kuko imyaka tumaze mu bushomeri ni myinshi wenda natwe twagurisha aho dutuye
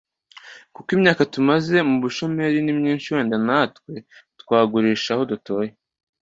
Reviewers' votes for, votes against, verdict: 2, 0, accepted